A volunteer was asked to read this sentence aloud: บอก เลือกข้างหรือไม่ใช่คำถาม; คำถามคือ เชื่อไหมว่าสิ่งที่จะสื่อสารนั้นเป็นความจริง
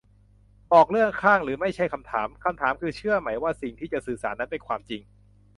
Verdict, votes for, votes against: accepted, 2, 0